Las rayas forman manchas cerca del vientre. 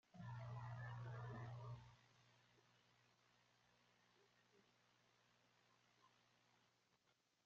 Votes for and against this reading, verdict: 0, 2, rejected